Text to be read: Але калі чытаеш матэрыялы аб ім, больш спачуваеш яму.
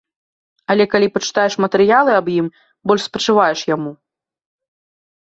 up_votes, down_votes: 2, 3